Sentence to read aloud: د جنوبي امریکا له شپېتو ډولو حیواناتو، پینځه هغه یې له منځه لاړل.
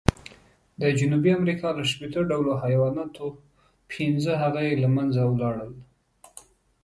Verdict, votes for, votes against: rejected, 1, 2